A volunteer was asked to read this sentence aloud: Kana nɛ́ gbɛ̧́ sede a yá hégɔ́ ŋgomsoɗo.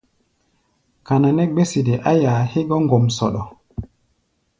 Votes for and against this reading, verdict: 1, 2, rejected